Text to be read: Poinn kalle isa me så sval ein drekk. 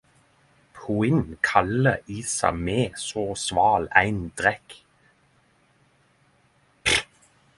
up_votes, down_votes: 0, 10